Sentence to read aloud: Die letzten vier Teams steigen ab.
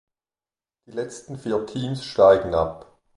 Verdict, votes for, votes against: accepted, 2, 0